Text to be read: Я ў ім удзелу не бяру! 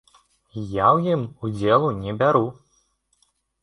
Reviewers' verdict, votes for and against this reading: accepted, 2, 0